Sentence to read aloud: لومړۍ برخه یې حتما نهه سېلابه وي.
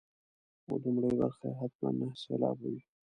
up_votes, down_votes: 1, 2